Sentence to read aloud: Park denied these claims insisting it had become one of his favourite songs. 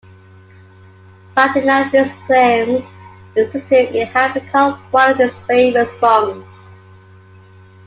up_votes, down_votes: 1, 2